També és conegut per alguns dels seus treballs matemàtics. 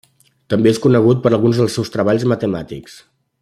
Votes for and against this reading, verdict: 3, 0, accepted